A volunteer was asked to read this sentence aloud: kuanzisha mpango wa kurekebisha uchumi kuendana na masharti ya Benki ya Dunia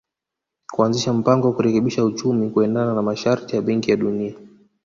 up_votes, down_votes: 2, 0